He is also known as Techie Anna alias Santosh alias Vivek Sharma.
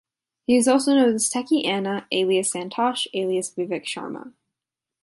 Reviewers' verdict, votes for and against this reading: rejected, 0, 2